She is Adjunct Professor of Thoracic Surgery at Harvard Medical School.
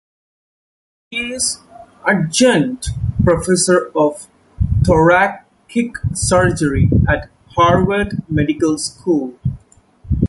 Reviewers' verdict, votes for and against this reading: rejected, 0, 2